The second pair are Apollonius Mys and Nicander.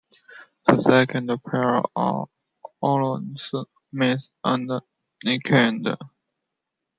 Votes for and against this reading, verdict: 0, 2, rejected